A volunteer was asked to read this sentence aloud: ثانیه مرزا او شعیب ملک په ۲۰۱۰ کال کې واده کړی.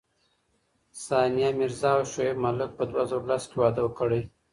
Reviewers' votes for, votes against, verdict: 0, 2, rejected